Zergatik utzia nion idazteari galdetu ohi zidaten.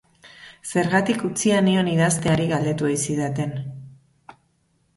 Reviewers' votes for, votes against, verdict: 2, 0, accepted